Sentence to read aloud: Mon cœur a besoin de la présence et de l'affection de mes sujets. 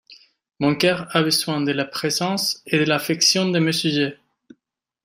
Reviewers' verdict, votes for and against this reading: rejected, 1, 2